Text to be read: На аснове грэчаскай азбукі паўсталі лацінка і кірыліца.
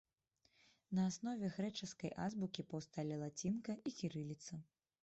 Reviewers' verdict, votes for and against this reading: accepted, 2, 0